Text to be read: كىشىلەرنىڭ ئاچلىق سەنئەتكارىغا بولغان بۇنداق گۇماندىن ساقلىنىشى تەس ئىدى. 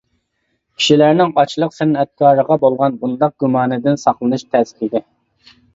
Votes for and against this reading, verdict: 1, 2, rejected